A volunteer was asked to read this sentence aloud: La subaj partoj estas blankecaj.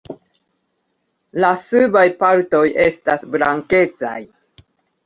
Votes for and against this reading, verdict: 2, 0, accepted